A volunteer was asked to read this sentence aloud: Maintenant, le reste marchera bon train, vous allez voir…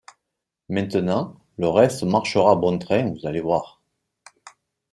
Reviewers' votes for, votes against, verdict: 2, 0, accepted